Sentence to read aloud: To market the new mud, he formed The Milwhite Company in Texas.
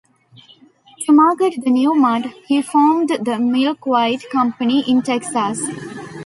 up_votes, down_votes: 1, 2